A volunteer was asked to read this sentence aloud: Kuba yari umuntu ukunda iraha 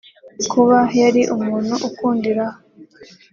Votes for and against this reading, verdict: 2, 0, accepted